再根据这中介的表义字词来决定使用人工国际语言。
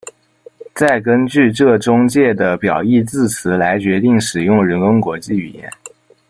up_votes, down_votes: 0, 2